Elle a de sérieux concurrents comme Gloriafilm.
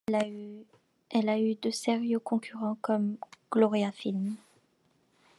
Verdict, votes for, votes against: rejected, 0, 2